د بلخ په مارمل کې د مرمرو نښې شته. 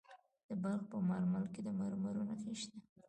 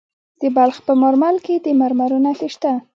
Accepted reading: second